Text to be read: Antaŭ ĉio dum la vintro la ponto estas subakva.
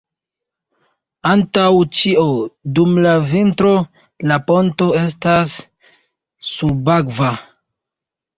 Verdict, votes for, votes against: rejected, 0, 2